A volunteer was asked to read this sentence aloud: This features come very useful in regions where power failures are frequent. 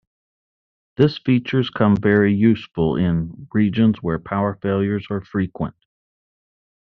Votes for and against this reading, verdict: 2, 0, accepted